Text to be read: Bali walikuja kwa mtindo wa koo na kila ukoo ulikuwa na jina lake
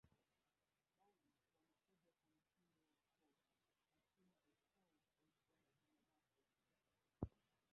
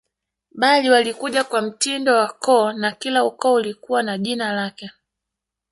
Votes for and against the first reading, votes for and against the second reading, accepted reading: 0, 2, 2, 1, second